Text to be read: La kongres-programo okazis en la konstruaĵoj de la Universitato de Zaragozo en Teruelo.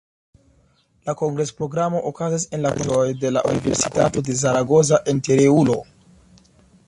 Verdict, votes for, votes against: accepted, 2, 1